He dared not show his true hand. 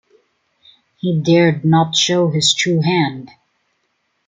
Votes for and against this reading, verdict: 2, 0, accepted